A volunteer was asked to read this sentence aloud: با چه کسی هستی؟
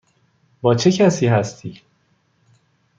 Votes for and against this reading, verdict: 2, 0, accepted